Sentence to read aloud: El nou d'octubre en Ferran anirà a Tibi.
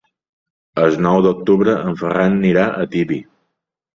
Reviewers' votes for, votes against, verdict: 2, 0, accepted